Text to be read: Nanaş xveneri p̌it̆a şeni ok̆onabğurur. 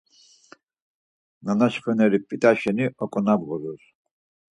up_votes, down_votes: 4, 0